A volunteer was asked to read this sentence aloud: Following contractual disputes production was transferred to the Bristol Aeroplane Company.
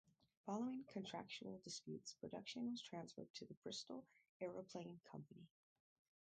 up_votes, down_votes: 0, 4